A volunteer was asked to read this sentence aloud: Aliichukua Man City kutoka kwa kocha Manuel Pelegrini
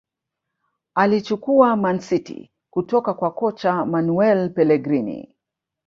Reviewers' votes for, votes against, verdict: 1, 2, rejected